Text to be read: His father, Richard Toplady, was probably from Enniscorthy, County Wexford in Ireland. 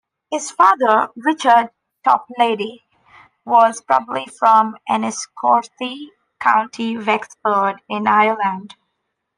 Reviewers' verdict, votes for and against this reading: accepted, 2, 0